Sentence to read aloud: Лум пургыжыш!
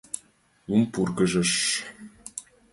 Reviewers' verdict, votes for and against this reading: accepted, 2, 0